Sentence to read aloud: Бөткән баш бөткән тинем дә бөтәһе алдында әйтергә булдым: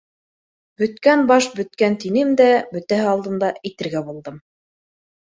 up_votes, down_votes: 2, 0